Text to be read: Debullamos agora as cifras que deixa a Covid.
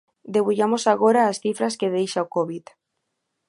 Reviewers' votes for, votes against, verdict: 0, 2, rejected